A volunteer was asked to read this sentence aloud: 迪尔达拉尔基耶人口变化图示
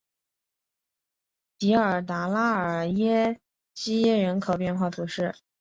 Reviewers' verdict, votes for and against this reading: rejected, 0, 2